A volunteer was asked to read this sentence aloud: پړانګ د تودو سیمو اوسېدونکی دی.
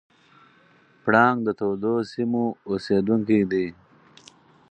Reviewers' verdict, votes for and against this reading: accepted, 4, 0